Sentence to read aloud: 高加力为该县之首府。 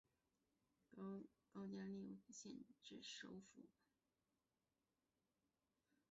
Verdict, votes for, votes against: rejected, 0, 3